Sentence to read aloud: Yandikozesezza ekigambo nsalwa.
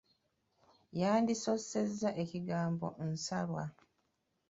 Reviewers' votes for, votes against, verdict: 1, 2, rejected